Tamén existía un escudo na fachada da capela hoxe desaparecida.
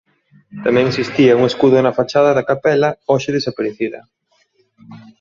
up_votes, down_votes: 2, 0